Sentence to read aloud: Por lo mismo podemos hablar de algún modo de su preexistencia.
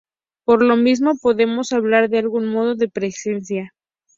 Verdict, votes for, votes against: rejected, 2, 2